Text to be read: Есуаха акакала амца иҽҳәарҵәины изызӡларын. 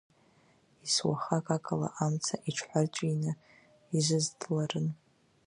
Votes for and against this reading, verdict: 0, 2, rejected